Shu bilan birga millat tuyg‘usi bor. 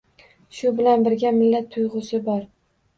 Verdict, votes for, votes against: accepted, 2, 0